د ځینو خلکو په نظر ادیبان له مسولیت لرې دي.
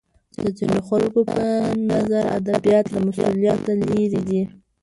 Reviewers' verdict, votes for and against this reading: rejected, 0, 2